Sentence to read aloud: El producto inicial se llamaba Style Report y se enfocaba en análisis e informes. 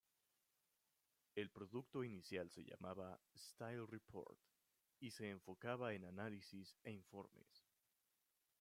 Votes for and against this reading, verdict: 2, 0, accepted